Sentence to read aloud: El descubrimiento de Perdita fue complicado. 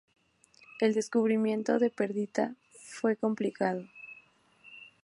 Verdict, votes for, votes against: accepted, 2, 0